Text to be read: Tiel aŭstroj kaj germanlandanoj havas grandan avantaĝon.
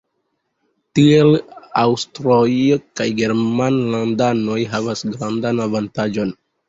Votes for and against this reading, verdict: 2, 0, accepted